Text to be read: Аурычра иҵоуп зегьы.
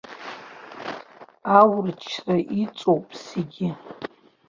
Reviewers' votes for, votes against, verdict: 2, 1, accepted